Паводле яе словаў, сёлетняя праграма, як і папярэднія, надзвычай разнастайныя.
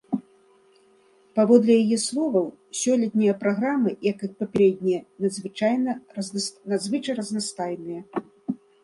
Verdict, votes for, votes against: rejected, 0, 2